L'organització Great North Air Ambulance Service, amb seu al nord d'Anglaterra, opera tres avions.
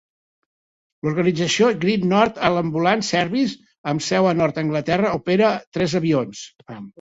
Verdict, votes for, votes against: rejected, 1, 2